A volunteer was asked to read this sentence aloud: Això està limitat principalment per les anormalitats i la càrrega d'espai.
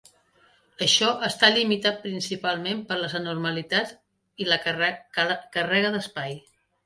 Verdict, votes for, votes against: accepted, 2, 1